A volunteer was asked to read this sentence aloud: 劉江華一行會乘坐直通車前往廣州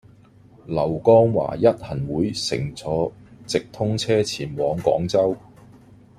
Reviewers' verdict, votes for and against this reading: rejected, 0, 2